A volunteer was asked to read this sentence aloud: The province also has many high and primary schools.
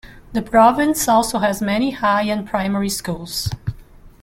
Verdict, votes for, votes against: accepted, 2, 0